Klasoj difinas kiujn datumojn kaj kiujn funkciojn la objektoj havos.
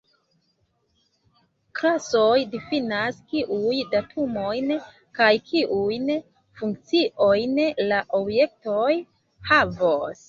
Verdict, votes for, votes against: accepted, 2, 1